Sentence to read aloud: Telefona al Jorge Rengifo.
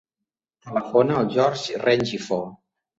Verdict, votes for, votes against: rejected, 1, 2